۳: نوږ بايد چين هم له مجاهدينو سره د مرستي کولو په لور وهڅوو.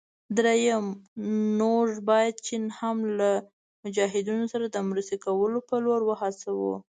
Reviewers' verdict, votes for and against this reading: rejected, 0, 2